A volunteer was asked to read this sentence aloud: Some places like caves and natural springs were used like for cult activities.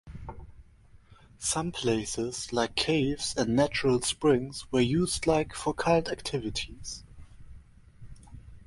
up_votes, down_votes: 2, 0